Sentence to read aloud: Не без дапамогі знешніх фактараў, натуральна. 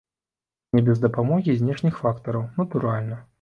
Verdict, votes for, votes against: accepted, 2, 0